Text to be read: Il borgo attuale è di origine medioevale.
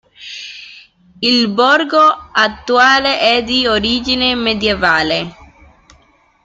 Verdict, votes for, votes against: rejected, 0, 2